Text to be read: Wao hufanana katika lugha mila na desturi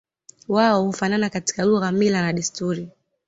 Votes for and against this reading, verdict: 2, 0, accepted